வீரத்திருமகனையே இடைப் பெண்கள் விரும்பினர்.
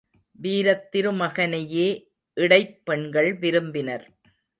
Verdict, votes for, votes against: accepted, 2, 0